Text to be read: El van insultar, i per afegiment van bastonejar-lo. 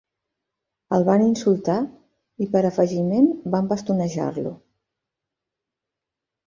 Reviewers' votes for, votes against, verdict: 2, 0, accepted